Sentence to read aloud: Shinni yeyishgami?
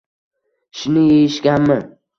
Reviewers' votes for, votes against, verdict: 2, 0, accepted